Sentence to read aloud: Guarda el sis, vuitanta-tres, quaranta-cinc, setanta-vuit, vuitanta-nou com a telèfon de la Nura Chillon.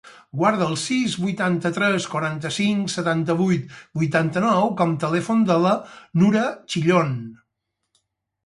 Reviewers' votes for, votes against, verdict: 0, 4, rejected